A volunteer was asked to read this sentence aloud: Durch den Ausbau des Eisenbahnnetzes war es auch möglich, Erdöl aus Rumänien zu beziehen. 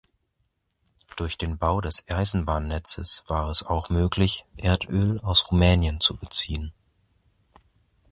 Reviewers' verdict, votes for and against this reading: rejected, 1, 2